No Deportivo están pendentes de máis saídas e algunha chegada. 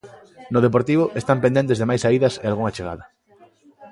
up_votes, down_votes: 2, 1